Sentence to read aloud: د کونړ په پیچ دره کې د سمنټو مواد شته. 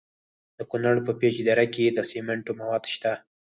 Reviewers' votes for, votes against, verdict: 4, 2, accepted